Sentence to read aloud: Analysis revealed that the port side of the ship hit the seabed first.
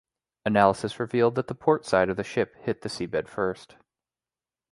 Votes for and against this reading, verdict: 2, 0, accepted